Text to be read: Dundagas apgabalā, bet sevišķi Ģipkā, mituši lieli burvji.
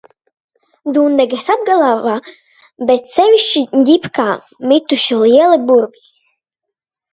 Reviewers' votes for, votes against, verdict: 0, 2, rejected